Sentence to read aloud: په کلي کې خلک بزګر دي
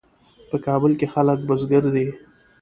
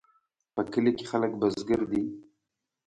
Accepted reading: second